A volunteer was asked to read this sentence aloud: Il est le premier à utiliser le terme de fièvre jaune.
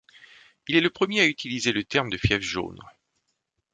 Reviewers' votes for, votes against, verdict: 2, 0, accepted